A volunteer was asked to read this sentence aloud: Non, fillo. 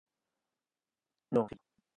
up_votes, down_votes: 0, 2